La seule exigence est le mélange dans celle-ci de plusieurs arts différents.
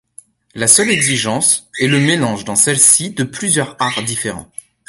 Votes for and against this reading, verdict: 1, 2, rejected